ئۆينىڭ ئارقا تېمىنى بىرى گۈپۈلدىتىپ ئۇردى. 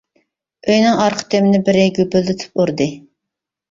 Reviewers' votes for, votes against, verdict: 2, 1, accepted